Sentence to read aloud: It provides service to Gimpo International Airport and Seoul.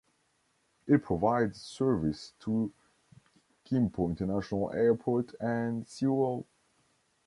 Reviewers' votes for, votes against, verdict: 0, 2, rejected